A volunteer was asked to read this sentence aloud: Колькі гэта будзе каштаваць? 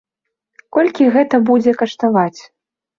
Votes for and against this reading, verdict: 2, 0, accepted